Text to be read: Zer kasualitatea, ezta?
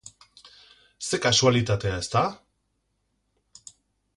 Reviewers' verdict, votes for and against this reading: accepted, 4, 0